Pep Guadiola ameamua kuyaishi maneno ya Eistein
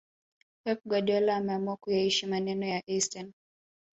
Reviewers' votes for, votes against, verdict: 1, 2, rejected